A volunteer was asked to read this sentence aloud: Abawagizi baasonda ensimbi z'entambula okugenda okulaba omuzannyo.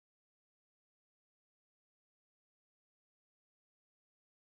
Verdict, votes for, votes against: rejected, 0, 2